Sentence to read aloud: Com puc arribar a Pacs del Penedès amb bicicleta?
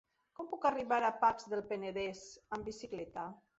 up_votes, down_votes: 1, 2